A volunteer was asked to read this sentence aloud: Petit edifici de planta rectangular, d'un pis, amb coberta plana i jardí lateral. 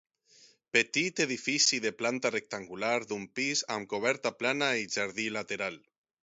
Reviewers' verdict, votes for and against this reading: accepted, 6, 0